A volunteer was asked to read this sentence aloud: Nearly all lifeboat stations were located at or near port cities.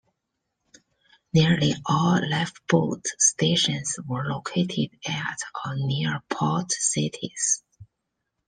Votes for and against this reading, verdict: 2, 1, accepted